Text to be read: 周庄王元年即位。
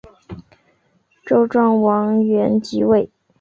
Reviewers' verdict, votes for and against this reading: rejected, 1, 2